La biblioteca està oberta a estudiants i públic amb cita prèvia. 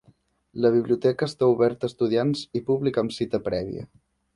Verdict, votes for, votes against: accepted, 3, 0